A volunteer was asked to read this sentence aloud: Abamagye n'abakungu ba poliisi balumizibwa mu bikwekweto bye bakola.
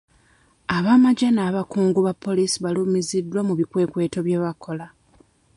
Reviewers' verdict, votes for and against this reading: rejected, 0, 2